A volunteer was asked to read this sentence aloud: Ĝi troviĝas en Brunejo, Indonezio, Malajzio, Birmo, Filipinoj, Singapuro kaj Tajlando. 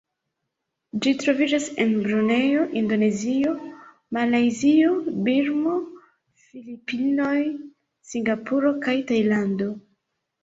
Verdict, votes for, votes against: accepted, 2, 1